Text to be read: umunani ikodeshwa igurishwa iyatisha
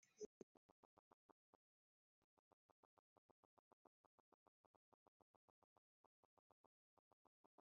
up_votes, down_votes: 0, 2